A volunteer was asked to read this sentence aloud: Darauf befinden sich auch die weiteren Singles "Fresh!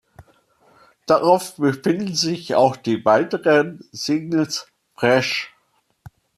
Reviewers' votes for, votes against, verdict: 2, 0, accepted